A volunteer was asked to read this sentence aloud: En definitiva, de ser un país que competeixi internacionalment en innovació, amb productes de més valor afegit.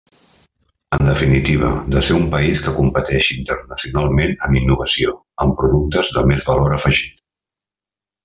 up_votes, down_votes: 2, 1